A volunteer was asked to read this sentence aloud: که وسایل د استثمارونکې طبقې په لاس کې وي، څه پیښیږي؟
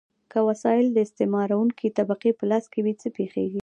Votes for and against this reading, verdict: 1, 2, rejected